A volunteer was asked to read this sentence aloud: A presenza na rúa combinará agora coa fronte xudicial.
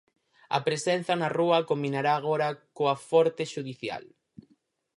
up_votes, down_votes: 0, 4